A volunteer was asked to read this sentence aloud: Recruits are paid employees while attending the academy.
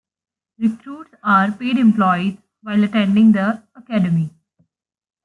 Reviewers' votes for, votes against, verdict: 2, 1, accepted